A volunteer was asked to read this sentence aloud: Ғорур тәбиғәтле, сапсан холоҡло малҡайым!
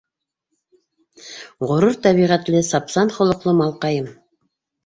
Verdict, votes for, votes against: rejected, 1, 2